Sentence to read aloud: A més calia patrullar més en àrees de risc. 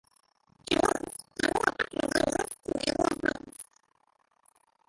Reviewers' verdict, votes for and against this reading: rejected, 0, 3